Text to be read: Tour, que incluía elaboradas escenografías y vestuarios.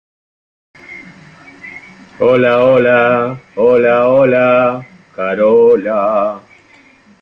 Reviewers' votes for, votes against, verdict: 0, 2, rejected